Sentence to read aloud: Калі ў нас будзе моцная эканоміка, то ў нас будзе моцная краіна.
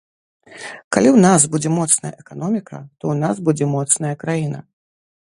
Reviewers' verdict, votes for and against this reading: accepted, 2, 0